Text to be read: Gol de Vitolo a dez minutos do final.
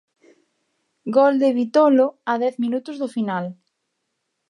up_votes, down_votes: 2, 0